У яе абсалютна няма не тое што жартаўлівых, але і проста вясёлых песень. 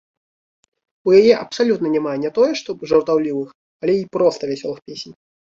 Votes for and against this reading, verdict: 2, 0, accepted